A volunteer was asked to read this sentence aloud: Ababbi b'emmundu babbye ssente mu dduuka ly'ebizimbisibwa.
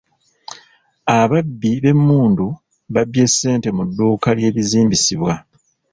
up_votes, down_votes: 1, 2